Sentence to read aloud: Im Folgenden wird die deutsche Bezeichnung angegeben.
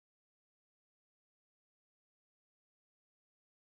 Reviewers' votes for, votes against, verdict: 0, 2, rejected